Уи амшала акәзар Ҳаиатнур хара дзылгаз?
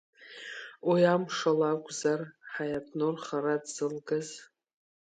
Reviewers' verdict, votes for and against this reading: accepted, 4, 0